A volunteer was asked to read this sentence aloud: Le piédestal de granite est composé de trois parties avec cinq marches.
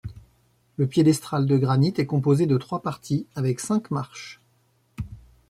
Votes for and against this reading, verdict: 0, 2, rejected